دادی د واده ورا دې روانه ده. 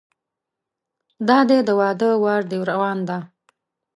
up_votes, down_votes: 0, 2